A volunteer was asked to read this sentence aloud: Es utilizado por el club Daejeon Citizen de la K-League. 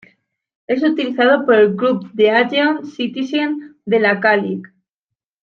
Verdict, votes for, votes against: rejected, 1, 2